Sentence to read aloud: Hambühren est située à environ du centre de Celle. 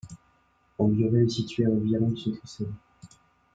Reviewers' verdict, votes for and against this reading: rejected, 0, 2